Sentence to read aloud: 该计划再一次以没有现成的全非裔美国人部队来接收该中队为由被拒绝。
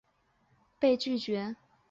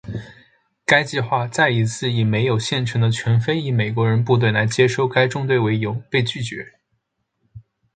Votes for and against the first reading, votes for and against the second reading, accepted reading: 0, 2, 5, 1, second